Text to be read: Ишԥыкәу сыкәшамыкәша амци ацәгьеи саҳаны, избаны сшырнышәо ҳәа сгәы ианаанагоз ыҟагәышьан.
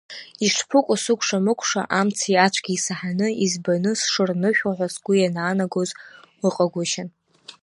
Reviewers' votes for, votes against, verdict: 2, 0, accepted